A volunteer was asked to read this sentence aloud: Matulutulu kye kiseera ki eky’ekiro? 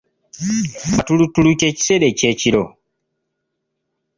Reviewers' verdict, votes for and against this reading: rejected, 0, 2